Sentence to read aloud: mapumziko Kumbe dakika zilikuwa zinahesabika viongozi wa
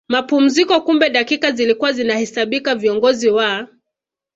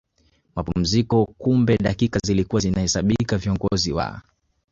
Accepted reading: first